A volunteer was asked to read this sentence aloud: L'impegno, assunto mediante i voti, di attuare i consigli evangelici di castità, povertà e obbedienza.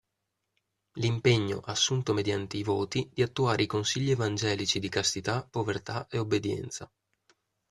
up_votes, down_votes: 2, 0